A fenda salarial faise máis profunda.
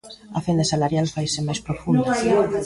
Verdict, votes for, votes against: rejected, 1, 2